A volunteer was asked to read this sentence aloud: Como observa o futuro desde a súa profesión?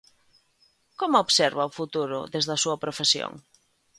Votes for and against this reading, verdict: 2, 0, accepted